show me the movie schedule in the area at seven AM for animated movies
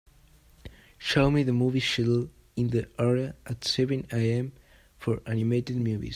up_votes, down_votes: 2, 1